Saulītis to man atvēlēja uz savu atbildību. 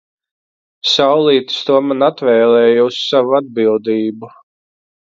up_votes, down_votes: 2, 0